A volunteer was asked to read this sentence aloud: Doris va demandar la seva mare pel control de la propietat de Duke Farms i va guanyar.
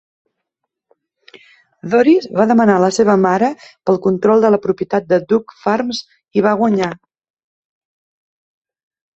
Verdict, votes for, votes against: rejected, 1, 2